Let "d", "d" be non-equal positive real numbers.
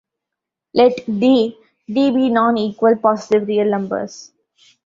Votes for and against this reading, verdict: 1, 2, rejected